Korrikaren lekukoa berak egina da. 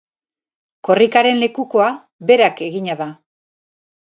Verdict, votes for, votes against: accepted, 4, 0